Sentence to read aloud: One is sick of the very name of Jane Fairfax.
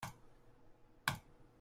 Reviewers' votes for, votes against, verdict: 0, 2, rejected